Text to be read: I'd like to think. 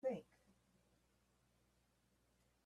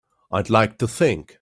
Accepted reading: second